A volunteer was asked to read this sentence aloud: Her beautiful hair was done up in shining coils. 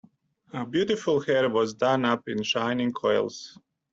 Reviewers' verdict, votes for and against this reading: accepted, 2, 0